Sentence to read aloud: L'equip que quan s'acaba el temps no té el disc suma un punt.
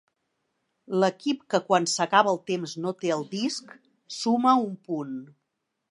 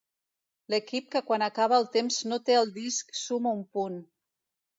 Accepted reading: first